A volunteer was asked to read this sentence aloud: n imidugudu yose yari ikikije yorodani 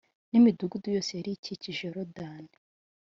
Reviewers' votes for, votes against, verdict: 2, 0, accepted